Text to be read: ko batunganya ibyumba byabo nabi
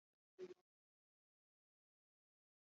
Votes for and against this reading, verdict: 0, 2, rejected